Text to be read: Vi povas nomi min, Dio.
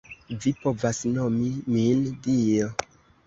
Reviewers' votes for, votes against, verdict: 2, 0, accepted